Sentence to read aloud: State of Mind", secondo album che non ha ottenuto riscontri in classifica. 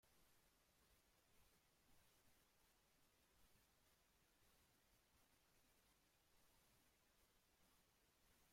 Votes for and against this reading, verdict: 0, 2, rejected